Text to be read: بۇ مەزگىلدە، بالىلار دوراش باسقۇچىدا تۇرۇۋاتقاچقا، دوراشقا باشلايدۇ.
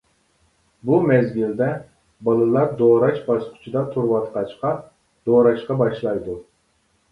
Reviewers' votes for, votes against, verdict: 2, 0, accepted